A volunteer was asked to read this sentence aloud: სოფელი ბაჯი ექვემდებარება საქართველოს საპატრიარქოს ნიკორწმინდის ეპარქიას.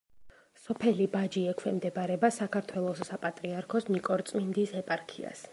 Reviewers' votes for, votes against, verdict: 2, 0, accepted